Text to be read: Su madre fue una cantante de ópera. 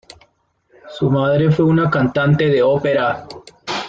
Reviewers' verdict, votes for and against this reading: accepted, 2, 1